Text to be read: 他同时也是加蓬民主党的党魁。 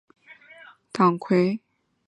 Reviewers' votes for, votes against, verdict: 1, 2, rejected